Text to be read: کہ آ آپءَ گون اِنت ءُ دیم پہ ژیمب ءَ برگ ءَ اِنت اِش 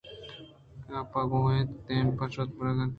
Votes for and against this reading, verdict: 2, 0, accepted